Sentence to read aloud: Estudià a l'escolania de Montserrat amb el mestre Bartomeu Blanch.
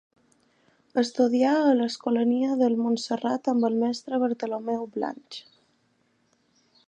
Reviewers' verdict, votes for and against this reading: rejected, 0, 2